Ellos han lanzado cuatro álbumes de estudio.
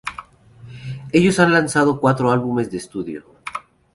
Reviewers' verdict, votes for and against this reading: accepted, 2, 0